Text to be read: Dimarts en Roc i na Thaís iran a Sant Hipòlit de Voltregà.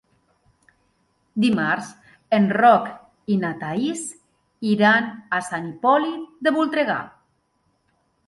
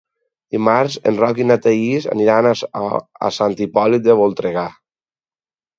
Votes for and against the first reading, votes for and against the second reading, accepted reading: 2, 0, 2, 4, first